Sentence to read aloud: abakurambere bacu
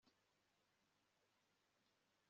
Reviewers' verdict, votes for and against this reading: rejected, 0, 2